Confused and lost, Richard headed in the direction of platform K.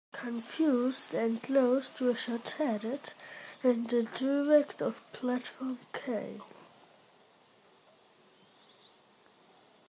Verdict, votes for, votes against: rejected, 0, 2